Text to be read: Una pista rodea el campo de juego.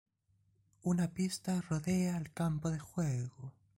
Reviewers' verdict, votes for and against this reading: accepted, 2, 0